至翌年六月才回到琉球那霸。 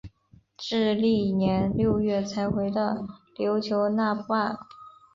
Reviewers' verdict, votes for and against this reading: accepted, 3, 0